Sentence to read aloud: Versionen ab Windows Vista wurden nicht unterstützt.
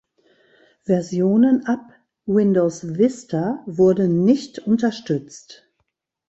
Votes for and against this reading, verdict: 2, 0, accepted